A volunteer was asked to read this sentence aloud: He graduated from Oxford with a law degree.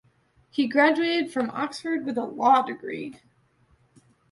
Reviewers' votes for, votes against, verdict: 2, 0, accepted